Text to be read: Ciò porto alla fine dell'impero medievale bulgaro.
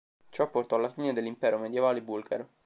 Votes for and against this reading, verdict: 2, 0, accepted